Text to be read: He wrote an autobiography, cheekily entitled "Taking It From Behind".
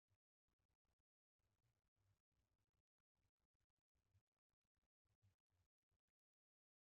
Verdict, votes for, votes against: rejected, 0, 2